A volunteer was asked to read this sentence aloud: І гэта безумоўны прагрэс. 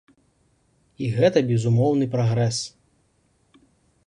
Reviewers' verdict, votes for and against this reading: accepted, 2, 0